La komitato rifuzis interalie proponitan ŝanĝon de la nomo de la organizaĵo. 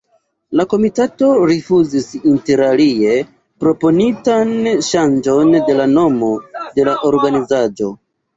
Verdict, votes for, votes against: accepted, 2, 0